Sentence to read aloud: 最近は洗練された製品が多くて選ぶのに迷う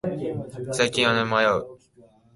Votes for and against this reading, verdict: 0, 5, rejected